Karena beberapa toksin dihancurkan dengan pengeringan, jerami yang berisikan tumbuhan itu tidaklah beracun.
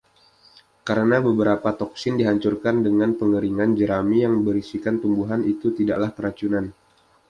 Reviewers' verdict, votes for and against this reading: rejected, 1, 2